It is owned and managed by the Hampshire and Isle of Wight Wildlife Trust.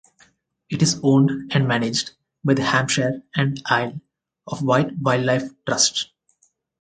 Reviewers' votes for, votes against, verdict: 4, 2, accepted